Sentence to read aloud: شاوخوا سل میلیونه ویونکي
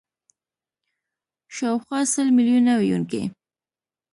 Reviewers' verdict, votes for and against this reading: accepted, 2, 0